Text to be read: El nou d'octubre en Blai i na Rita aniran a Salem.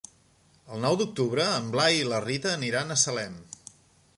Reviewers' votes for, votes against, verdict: 0, 2, rejected